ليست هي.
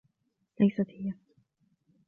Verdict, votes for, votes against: accepted, 2, 0